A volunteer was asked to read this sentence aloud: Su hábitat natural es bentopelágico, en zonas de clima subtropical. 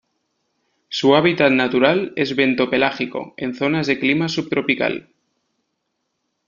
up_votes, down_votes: 2, 0